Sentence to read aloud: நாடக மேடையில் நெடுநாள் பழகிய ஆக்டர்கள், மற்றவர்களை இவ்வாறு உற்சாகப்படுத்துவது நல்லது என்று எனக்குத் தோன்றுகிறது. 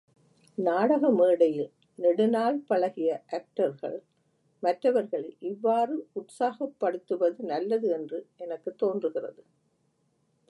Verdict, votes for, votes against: rejected, 1, 2